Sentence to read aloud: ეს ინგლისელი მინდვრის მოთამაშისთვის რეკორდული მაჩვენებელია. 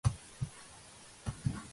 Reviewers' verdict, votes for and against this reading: rejected, 0, 2